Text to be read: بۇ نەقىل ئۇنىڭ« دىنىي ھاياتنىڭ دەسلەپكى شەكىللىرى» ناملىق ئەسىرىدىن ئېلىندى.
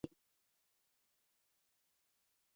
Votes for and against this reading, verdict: 0, 2, rejected